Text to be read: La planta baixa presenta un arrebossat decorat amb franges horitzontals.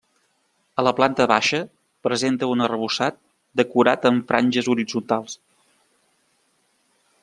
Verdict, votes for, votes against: rejected, 0, 2